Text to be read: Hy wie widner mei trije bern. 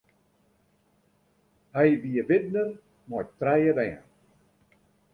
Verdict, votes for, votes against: accepted, 2, 0